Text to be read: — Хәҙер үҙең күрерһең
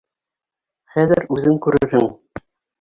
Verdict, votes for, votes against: rejected, 1, 2